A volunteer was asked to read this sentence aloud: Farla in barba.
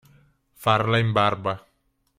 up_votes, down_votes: 3, 0